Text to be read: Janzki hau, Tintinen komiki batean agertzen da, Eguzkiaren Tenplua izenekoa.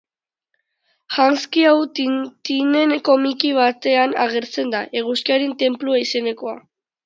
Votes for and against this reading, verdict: 0, 2, rejected